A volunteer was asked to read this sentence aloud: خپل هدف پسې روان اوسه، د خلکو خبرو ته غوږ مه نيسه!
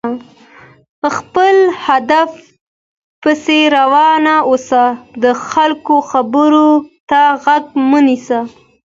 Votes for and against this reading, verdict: 2, 1, accepted